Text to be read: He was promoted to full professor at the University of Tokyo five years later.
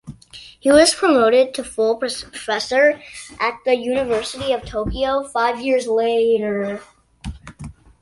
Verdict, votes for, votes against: accepted, 2, 1